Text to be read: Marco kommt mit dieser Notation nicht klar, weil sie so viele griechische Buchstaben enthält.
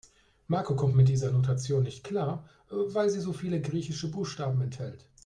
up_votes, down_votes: 1, 2